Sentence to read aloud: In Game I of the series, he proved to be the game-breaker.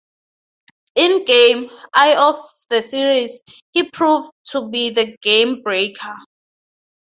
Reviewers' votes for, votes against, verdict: 2, 2, rejected